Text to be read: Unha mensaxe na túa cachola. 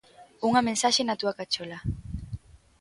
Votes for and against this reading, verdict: 2, 0, accepted